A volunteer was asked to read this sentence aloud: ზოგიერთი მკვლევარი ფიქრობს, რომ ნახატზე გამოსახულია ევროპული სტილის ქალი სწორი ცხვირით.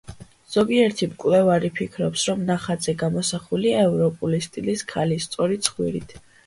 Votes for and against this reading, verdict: 2, 0, accepted